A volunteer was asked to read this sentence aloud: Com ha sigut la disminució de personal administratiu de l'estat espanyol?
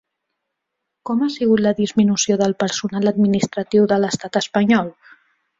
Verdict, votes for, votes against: rejected, 0, 2